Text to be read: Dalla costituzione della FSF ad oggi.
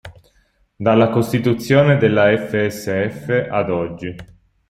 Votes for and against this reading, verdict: 3, 0, accepted